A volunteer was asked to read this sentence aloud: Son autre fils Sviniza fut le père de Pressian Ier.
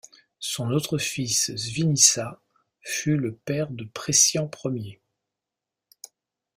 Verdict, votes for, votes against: accepted, 2, 0